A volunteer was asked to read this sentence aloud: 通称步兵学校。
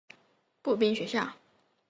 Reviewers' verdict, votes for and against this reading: rejected, 1, 3